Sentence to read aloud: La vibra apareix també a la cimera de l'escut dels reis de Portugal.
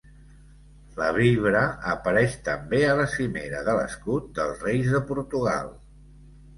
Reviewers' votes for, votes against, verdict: 2, 0, accepted